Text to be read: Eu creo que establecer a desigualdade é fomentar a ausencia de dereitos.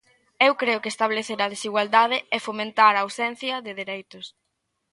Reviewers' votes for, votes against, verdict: 2, 0, accepted